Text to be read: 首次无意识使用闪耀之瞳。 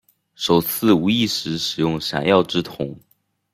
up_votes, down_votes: 2, 0